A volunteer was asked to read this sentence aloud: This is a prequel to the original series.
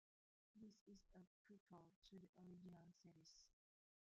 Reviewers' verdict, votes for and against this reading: rejected, 0, 2